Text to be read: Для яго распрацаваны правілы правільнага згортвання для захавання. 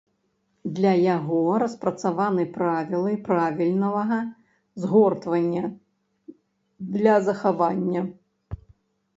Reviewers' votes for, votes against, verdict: 1, 2, rejected